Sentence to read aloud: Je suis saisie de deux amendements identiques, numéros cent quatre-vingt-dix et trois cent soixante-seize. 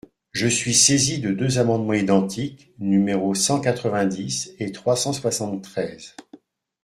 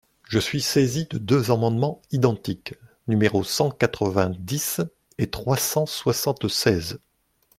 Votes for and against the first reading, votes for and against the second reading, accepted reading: 0, 2, 2, 0, second